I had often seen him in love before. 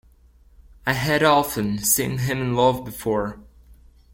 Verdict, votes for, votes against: rejected, 1, 2